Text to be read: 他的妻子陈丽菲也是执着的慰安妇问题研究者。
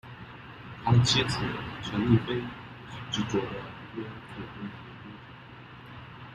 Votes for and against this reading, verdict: 0, 2, rejected